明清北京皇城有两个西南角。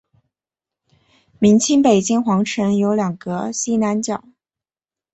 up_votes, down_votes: 0, 2